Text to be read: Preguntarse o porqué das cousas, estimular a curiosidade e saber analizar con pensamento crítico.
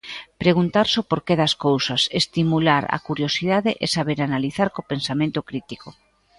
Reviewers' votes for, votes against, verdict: 3, 2, accepted